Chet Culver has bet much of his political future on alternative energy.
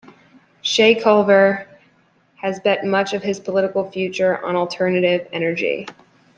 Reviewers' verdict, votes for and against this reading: accepted, 2, 0